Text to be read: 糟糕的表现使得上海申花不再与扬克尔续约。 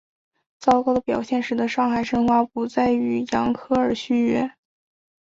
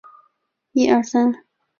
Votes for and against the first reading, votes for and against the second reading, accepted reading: 3, 0, 1, 3, first